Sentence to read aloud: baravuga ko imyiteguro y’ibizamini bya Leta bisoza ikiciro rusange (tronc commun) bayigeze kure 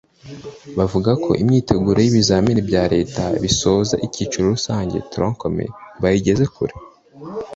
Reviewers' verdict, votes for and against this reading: accepted, 2, 1